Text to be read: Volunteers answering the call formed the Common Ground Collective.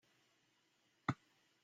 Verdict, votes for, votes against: rejected, 0, 2